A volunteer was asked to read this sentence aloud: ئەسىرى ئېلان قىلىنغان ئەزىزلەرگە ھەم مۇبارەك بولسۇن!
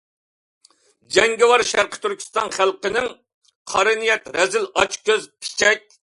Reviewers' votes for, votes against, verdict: 0, 2, rejected